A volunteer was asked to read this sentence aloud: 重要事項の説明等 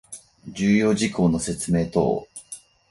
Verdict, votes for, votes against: accepted, 4, 0